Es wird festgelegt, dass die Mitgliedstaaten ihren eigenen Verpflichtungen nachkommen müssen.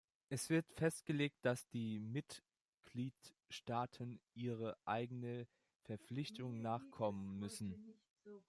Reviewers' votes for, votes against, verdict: 0, 2, rejected